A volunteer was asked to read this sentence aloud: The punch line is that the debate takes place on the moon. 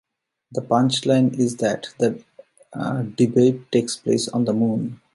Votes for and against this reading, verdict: 0, 2, rejected